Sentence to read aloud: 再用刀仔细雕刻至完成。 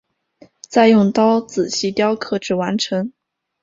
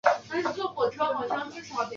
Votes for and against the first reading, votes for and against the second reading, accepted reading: 2, 0, 0, 2, first